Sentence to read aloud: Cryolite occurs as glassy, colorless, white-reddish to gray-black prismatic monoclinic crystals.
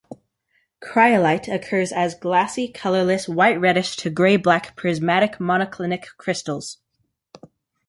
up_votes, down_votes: 2, 0